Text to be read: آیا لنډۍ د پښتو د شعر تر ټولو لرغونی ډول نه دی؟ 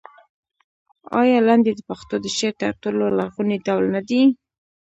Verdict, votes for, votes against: rejected, 1, 2